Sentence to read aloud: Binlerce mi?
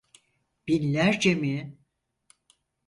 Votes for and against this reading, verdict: 4, 0, accepted